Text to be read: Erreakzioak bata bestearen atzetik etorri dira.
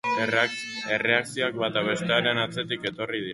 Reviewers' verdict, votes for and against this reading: rejected, 2, 2